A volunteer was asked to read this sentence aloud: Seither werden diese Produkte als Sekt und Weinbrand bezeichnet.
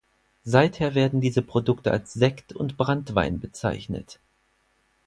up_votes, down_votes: 0, 4